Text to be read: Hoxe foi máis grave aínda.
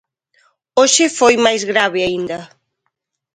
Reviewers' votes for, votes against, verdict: 2, 0, accepted